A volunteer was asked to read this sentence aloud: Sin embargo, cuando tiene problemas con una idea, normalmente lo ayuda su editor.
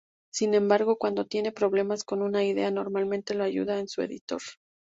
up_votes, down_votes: 0, 2